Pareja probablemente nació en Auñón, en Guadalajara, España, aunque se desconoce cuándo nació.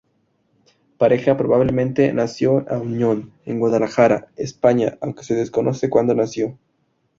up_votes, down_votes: 2, 2